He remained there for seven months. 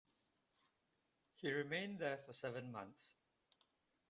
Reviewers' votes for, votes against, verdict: 1, 2, rejected